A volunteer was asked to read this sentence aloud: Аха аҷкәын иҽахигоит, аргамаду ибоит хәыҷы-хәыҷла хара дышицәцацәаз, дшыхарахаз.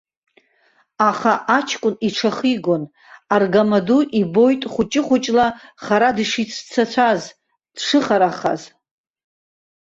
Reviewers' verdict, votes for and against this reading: rejected, 1, 2